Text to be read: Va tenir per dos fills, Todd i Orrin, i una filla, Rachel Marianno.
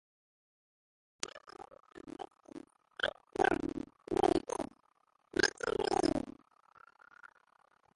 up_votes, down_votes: 0, 3